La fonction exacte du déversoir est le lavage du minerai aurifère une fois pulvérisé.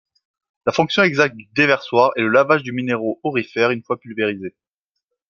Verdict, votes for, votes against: accepted, 2, 0